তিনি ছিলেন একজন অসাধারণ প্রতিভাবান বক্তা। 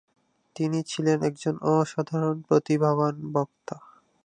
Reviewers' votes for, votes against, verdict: 2, 0, accepted